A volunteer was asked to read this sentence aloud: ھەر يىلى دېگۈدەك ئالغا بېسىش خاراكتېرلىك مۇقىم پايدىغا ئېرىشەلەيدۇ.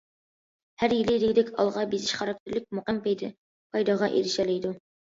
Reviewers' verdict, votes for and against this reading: rejected, 0, 2